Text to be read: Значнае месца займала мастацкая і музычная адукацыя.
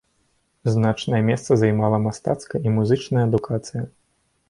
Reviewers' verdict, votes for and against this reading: accepted, 2, 0